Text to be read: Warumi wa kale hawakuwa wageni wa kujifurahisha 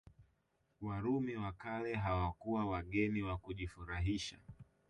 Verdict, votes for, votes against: rejected, 1, 2